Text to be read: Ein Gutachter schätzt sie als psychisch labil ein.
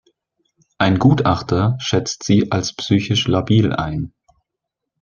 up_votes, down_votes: 2, 0